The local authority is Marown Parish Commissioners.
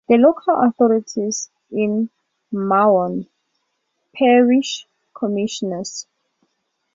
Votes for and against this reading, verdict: 0, 2, rejected